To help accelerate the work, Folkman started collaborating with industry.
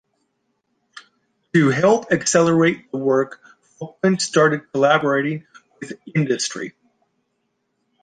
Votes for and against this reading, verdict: 1, 2, rejected